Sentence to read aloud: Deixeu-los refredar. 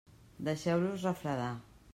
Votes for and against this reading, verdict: 2, 0, accepted